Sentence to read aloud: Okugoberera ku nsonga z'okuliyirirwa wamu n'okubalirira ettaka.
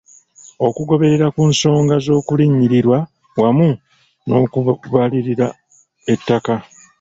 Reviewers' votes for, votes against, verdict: 1, 2, rejected